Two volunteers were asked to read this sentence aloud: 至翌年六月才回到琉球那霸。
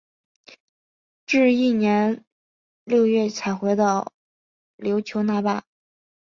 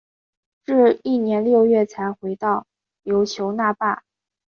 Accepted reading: second